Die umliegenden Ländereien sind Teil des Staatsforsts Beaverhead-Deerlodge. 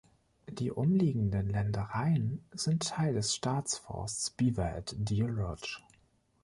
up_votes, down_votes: 2, 0